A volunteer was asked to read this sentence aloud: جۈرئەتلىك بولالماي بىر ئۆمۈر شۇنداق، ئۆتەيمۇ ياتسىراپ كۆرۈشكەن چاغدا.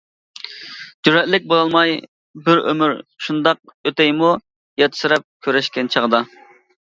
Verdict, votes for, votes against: accepted, 2, 0